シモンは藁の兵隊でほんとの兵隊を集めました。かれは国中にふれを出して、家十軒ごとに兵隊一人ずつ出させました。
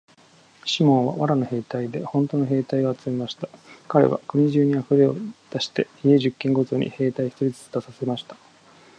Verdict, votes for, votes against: accepted, 2, 0